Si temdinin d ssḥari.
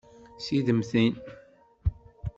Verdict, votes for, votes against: rejected, 1, 2